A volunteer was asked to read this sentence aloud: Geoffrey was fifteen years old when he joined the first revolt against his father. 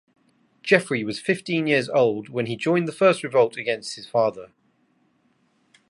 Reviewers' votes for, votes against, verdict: 2, 0, accepted